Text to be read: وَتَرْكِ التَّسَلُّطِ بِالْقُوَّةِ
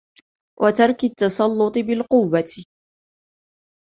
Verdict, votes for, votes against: accepted, 2, 0